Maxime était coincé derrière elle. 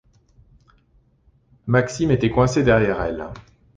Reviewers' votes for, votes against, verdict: 2, 0, accepted